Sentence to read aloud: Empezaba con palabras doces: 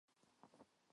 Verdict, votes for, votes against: rejected, 0, 4